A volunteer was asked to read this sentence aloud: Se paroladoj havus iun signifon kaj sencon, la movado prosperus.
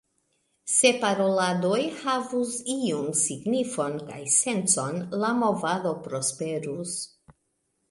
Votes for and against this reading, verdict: 2, 0, accepted